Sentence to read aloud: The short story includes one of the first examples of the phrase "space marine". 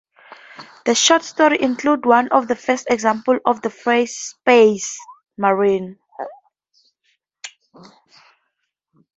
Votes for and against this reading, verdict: 0, 2, rejected